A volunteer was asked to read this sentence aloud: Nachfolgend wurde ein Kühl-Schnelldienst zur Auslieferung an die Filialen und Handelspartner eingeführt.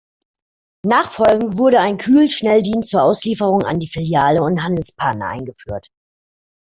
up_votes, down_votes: 2, 1